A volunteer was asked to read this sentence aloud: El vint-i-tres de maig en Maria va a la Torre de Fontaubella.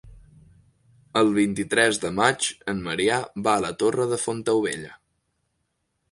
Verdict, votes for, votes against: rejected, 0, 2